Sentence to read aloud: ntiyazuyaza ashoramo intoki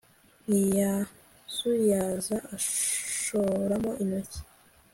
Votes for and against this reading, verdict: 2, 0, accepted